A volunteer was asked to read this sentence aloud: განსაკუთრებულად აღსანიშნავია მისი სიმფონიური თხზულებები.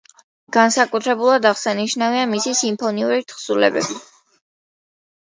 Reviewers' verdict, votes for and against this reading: accepted, 2, 0